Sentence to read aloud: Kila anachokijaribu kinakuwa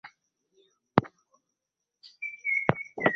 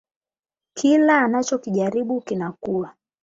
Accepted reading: second